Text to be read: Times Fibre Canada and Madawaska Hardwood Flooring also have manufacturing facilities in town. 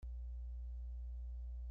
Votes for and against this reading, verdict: 0, 2, rejected